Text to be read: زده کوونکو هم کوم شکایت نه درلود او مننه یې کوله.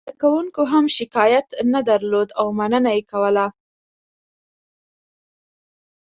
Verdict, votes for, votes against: accepted, 2, 0